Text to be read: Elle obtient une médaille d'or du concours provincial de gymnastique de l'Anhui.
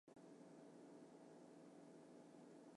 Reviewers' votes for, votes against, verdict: 0, 2, rejected